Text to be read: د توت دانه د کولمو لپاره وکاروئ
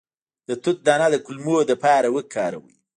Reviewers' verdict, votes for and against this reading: rejected, 1, 2